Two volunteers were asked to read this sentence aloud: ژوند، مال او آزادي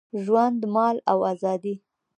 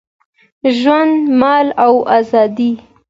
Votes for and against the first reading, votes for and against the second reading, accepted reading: 1, 2, 2, 0, second